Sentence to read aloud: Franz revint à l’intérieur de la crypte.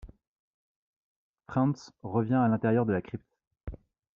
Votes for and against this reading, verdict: 1, 2, rejected